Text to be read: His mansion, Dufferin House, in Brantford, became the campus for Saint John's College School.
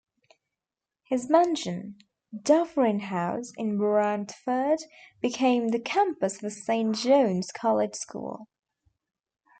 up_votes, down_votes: 0, 2